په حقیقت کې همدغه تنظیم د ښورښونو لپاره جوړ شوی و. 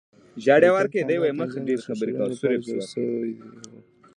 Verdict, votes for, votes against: rejected, 0, 3